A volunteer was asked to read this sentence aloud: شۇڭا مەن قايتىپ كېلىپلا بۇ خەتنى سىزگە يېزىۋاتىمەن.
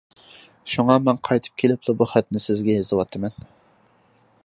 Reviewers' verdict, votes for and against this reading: accepted, 2, 0